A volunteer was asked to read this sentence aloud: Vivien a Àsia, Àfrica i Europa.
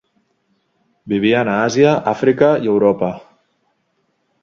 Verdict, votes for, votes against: accepted, 2, 0